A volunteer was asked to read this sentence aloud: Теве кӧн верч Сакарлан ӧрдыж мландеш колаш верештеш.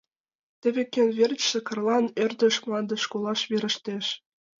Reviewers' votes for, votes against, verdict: 0, 2, rejected